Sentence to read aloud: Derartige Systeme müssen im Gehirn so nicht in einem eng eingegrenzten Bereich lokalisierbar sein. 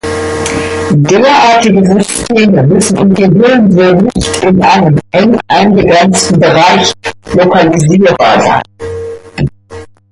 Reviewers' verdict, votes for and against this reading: rejected, 0, 2